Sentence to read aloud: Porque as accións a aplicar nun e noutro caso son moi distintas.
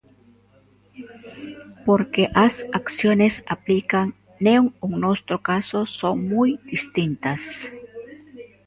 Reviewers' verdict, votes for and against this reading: rejected, 0, 2